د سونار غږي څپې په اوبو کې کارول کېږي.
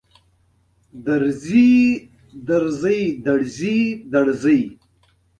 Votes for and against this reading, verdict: 0, 2, rejected